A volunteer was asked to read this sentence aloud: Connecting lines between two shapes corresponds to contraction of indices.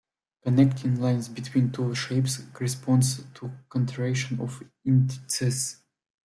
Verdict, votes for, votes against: rejected, 0, 2